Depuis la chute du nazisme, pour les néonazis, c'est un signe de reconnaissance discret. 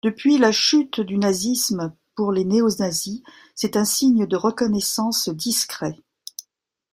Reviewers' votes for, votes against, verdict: 1, 2, rejected